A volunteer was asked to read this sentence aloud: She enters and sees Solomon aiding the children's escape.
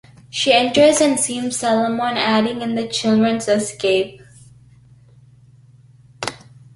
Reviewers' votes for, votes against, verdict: 1, 2, rejected